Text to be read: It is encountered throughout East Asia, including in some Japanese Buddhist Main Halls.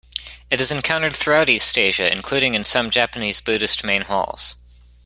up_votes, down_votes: 2, 0